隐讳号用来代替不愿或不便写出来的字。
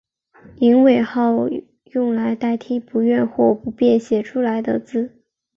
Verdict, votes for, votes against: accepted, 4, 0